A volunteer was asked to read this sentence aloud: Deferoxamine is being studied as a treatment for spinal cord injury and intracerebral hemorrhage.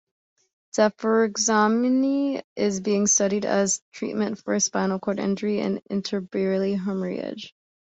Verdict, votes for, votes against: rejected, 1, 2